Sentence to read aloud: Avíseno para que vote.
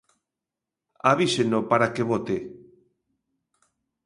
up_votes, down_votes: 0, 2